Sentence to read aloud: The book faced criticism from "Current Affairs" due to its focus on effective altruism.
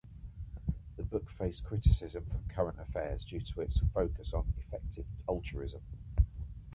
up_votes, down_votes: 2, 0